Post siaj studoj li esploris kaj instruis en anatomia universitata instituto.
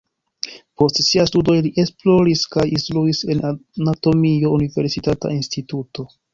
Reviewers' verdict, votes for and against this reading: accepted, 2, 0